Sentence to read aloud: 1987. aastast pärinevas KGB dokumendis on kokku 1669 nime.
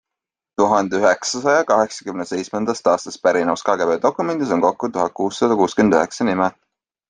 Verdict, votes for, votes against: rejected, 0, 2